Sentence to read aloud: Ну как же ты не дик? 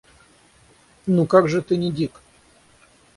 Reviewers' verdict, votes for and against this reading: rejected, 3, 6